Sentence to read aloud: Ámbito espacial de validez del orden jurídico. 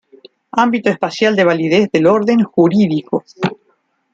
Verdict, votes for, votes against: accepted, 2, 0